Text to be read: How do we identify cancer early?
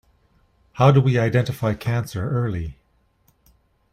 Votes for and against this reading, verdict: 2, 0, accepted